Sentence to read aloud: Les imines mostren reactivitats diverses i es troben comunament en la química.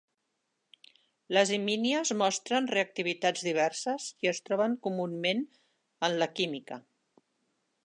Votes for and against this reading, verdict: 1, 2, rejected